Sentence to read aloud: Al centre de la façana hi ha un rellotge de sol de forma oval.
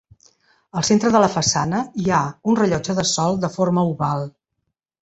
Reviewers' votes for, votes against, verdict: 2, 0, accepted